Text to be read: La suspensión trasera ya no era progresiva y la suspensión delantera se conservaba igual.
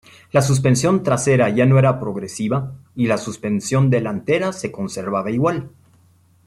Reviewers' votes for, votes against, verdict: 2, 0, accepted